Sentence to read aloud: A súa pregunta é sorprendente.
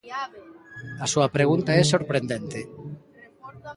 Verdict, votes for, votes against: accepted, 2, 0